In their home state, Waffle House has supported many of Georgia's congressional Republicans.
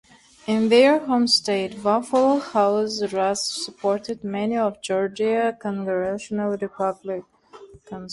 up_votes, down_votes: 1, 2